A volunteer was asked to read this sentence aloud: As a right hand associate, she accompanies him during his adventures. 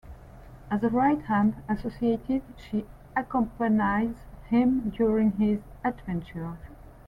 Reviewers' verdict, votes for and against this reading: rejected, 1, 2